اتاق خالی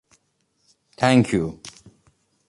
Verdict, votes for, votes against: rejected, 0, 2